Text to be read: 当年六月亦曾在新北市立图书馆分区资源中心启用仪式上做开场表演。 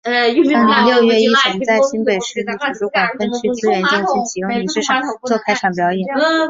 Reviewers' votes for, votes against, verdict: 0, 4, rejected